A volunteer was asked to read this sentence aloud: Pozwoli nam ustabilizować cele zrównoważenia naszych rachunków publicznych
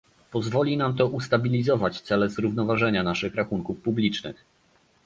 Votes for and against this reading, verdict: 1, 2, rejected